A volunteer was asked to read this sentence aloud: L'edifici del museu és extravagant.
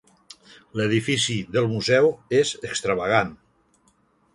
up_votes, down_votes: 2, 0